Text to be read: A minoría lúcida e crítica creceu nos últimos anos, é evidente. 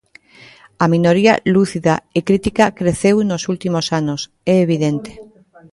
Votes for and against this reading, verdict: 0, 2, rejected